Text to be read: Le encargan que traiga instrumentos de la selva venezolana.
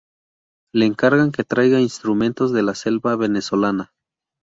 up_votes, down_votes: 2, 0